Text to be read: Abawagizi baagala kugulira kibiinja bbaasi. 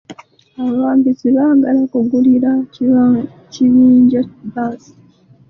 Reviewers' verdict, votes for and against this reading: rejected, 0, 2